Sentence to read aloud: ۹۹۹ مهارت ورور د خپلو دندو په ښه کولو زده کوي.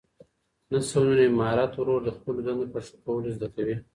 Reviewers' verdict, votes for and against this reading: rejected, 0, 2